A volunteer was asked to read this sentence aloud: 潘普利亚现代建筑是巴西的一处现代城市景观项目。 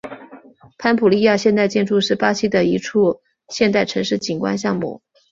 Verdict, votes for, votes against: accepted, 4, 1